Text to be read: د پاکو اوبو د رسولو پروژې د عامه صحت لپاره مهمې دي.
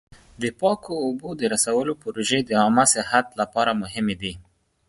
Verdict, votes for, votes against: accepted, 2, 0